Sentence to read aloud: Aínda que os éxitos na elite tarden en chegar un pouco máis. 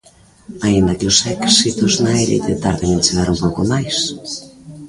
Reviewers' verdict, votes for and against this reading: rejected, 0, 2